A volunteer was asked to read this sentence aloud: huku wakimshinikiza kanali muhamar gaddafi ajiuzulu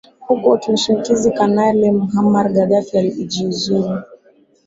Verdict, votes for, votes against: rejected, 0, 2